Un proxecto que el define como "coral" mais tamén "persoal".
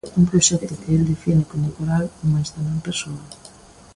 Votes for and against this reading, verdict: 2, 1, accepted